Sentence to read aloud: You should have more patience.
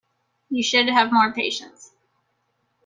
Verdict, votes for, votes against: accepted, 2, 0